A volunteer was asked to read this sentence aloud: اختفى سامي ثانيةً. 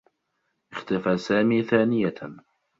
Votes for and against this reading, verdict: 2, 0, accepted